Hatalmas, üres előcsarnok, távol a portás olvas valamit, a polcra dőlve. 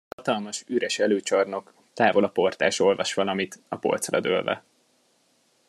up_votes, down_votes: 0, 2